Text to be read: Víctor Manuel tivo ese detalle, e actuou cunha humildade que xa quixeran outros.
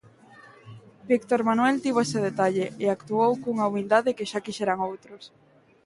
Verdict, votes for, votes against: accepted, 2, 0